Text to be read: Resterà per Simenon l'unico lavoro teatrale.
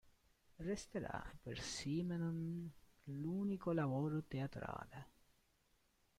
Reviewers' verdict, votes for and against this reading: rejected, 1, 2